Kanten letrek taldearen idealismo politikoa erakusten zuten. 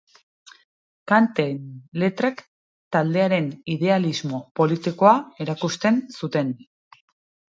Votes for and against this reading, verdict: 2, 0, accepted